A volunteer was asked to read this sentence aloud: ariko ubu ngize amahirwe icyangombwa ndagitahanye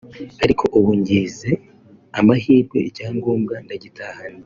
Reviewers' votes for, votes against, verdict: 2, 0, accepted